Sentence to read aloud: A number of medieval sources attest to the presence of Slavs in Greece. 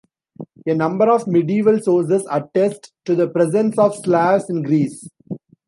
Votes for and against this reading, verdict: 2, 0, accepted